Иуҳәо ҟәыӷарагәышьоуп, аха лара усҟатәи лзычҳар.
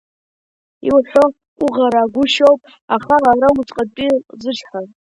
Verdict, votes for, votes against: rejected, 1, 2